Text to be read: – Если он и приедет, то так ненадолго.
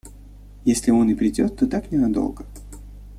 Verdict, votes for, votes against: rejected, 0, 2